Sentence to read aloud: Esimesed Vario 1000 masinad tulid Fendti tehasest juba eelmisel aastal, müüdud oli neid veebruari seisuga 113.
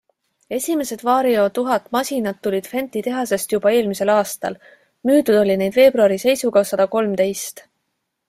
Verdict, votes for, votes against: rejected, 0, 2